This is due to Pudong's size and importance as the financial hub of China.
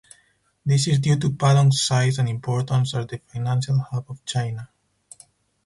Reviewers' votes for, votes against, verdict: 4, 2, accepted